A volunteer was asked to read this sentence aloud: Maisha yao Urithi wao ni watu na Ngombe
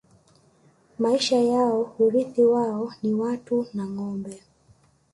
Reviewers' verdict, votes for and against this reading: accepted, 2, 0